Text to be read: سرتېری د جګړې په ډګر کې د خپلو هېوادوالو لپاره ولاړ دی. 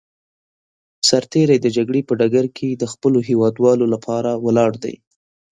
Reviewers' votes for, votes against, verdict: 2, 0, accepted